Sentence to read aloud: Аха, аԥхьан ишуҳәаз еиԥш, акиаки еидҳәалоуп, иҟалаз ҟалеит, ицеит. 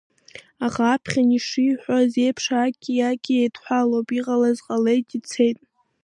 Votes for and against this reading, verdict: 2, 1, accepted